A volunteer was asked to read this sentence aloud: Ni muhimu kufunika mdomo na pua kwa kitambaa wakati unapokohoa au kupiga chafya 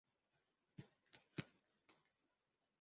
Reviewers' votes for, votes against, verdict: 0, 2, rejected